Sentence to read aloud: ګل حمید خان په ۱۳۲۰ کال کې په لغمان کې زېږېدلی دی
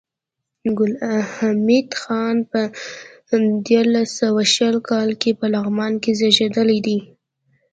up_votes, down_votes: 0, 2